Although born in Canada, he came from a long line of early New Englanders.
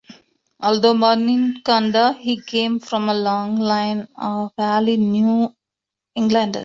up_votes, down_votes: 1, 2